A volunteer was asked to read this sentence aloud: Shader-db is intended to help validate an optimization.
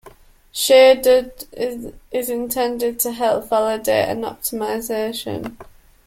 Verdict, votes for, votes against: rejected, 0, 2